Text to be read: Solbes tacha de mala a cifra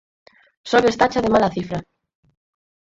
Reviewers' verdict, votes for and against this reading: rejected, 0, 4